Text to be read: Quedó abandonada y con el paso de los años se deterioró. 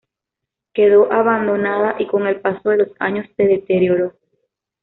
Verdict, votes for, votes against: accepted, 2, 0